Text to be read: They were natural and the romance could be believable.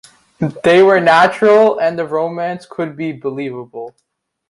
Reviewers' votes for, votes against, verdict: 1, 2, rejected